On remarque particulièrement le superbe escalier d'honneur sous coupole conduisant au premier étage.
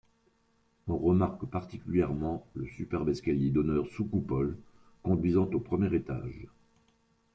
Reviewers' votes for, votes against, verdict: 2, 1, accepted